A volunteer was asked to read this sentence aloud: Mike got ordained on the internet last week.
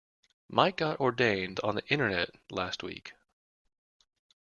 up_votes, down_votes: 2, 0